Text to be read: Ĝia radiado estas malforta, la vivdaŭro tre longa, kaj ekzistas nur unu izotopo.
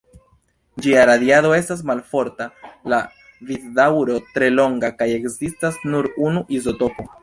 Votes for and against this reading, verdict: 1, 2, rejected